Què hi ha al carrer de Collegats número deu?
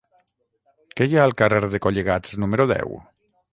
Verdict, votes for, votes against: accepted, 6, 0